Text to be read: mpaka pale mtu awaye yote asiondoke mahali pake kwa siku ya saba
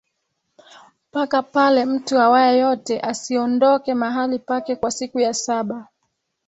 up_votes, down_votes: 2, 0